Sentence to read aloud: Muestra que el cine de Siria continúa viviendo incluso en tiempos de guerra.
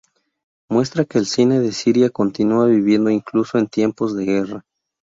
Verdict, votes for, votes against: accepted, 2, 0